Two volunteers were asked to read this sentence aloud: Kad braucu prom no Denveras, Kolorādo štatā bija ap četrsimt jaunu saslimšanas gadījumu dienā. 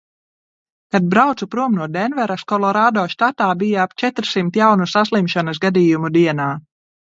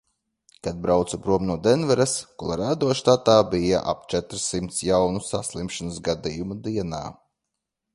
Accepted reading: first